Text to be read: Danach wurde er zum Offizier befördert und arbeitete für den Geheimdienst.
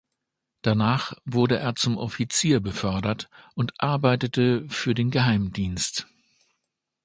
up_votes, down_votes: 2, 0